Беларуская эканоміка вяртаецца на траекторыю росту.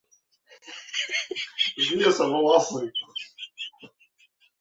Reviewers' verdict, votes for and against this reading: rejected, 0, 3